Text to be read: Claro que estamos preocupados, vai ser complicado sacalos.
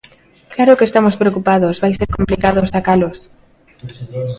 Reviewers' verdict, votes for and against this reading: rejected, 0, 2